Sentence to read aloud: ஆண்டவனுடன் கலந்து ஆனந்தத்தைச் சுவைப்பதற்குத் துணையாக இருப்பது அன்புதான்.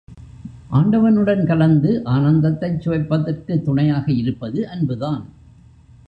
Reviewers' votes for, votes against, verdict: 1, 2, rejected